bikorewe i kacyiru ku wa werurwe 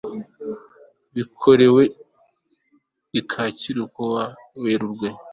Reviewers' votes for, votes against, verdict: 3, 0, accepted